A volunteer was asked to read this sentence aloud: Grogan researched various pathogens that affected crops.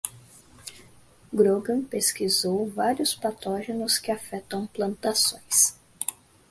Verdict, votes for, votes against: rejected, 0, 2